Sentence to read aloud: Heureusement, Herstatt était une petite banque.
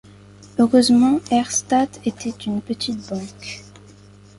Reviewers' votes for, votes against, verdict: 2, 0, accepted